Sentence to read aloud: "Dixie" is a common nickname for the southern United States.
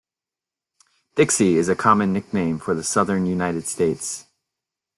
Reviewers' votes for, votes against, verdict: 2, 1, accepted